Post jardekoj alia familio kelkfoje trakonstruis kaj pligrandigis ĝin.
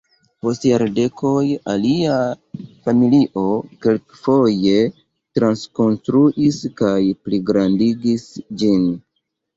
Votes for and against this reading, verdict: 2, 3, rejected